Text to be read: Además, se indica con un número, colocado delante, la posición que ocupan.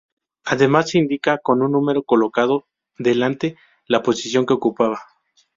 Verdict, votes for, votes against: accepted, 2, 0